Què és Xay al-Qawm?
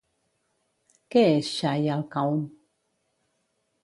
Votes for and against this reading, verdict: 2, 0, accepted